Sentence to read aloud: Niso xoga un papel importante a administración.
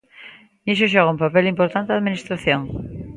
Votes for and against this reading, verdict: 3, 0, accepted